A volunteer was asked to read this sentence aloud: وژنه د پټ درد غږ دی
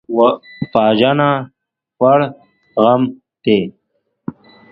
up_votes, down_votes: 0, 2